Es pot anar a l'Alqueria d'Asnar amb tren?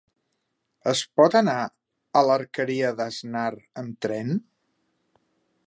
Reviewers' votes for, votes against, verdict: 1, 2, rejected